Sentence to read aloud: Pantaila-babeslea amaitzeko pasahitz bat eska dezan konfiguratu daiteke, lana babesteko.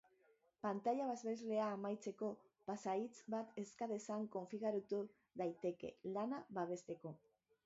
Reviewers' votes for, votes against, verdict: 0, 4, rejected